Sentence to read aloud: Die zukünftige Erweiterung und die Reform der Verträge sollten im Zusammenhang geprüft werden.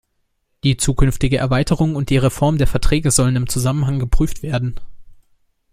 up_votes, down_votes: 0, 2